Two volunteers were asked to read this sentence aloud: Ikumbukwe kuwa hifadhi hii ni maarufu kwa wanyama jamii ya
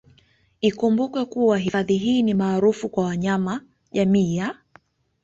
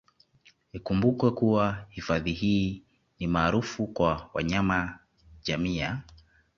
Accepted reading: first